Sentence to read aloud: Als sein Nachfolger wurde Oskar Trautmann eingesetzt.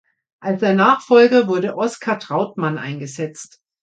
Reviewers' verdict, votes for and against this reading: accepted, 2, 0